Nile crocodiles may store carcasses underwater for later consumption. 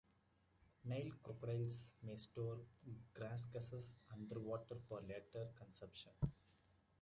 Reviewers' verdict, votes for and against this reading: rejected, 0, 2